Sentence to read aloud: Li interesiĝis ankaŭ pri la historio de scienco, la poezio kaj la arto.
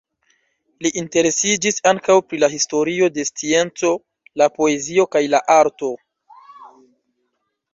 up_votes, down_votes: 1, 2